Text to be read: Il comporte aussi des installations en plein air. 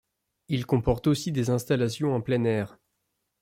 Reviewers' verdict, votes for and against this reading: accepted, 2, 0